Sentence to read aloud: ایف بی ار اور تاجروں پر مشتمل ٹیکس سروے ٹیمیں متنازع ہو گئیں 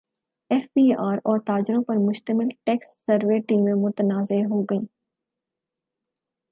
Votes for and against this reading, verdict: 4, 0, accepted